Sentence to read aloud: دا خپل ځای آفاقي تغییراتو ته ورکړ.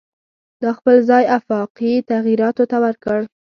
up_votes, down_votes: 2, 0